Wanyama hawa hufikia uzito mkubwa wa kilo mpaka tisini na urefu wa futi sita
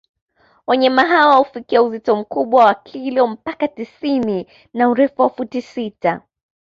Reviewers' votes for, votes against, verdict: 3, 0, accepted